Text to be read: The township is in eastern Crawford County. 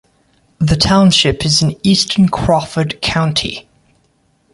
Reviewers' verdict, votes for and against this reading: accepted, 2, 0